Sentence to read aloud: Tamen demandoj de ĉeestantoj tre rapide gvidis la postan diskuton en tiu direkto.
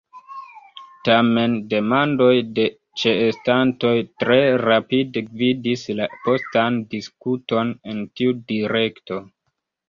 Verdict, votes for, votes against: accepted, 2, 1